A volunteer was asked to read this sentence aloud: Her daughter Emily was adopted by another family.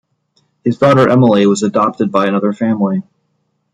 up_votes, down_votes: 0, 2